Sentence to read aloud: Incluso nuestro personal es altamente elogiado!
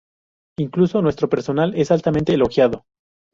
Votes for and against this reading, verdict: 2, 0, accepted